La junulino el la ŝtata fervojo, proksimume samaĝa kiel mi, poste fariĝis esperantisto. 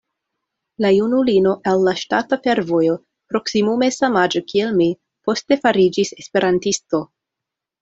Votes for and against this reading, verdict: 2, 1, accepted